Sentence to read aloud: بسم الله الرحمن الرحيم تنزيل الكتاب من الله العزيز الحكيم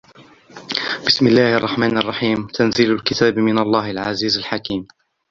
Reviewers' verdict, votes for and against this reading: accepted, 2, 0